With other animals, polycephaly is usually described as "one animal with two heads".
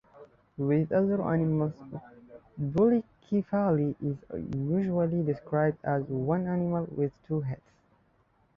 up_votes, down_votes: 1, 2